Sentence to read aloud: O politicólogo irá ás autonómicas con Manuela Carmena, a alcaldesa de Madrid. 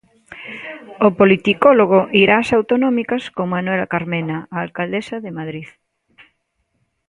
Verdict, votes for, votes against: accepted, 2, 0